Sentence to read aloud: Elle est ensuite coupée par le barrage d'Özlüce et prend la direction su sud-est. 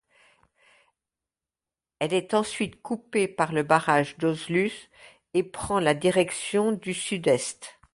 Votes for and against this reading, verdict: 1, 2, rejected